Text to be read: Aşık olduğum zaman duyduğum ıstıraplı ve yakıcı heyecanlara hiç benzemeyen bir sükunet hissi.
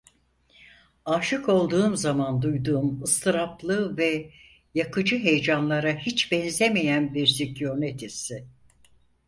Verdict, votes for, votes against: accepted, 4, 0